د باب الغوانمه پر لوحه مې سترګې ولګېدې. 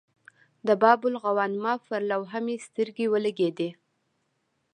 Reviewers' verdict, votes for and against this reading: accepted, 2, 0